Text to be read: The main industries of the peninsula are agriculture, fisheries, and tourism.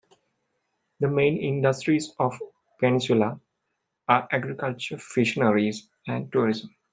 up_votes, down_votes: 1, 2